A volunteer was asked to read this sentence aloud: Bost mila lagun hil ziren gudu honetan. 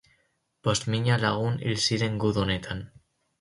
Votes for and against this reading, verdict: 2, 2, rejected